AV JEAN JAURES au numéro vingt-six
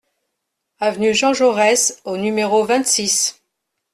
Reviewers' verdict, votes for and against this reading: accepted, 2, 0